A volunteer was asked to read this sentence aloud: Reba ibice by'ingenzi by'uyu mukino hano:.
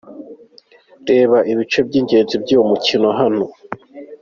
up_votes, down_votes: 2, 0